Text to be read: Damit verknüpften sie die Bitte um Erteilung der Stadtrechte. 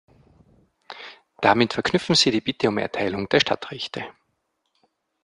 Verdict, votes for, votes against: rejected, 1, 2